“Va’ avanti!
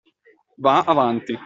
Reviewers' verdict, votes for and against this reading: accepted, 2, 0